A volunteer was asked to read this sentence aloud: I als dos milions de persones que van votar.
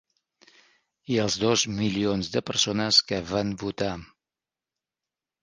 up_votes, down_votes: 3, 0